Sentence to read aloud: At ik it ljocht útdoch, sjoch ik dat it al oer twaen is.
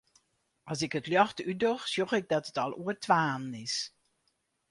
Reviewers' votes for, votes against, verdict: 2, 2, rejected